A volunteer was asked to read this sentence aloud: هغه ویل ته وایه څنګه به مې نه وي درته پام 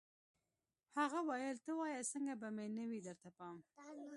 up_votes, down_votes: 2, 0